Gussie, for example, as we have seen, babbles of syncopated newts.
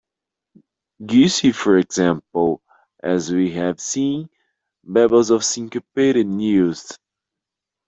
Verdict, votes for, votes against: rejected, 0, 2